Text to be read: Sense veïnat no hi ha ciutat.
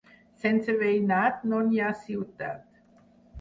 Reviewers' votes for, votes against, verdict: 4, 0, accepted